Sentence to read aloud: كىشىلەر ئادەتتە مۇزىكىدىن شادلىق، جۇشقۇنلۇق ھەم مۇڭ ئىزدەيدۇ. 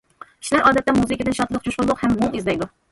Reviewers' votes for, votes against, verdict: 2, 1, accepted